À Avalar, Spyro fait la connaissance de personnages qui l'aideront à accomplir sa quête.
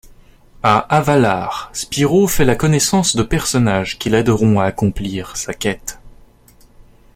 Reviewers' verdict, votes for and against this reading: accepted, 2, 0